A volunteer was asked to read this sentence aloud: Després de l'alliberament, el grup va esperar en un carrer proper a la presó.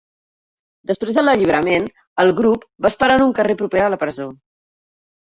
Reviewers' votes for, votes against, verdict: 4, 0, accepted